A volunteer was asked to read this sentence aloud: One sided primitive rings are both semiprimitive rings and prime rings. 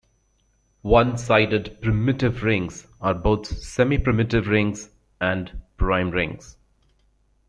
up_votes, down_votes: 2, 0